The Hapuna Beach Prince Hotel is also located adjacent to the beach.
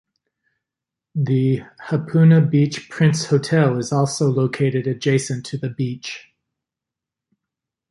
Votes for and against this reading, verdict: 2, 1, accepted